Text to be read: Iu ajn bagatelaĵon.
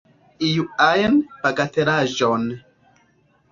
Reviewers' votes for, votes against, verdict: 2, 0, accepted